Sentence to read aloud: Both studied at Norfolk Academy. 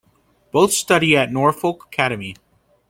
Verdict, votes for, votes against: rejected, 0, 3